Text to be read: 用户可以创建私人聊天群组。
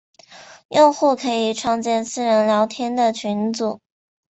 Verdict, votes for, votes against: rejected, 1, 2